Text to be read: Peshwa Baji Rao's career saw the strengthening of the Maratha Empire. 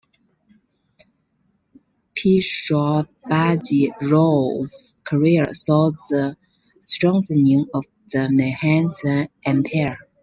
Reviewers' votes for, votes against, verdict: 0, 2, rejected